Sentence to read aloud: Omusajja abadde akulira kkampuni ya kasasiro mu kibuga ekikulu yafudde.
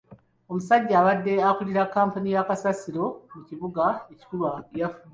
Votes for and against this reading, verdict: 4, 3, accepted